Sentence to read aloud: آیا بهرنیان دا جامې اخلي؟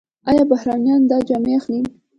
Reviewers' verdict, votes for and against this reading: accepted, 2, 1